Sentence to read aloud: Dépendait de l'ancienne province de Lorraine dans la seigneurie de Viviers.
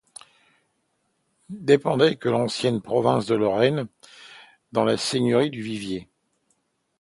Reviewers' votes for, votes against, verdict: 0, 2, rejected